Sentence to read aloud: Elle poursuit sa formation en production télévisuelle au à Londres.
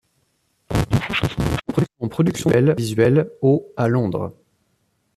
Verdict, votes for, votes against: rejected, 0, 2